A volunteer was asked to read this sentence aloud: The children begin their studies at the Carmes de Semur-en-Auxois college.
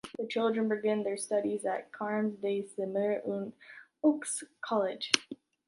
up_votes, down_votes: 2, 0